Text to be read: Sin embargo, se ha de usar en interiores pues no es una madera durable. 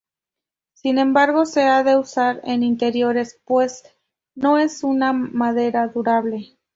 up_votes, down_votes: 2, 0